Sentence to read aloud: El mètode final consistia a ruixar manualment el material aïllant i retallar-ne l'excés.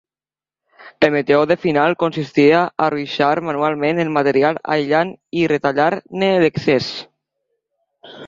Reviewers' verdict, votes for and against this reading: rejected, 0, 2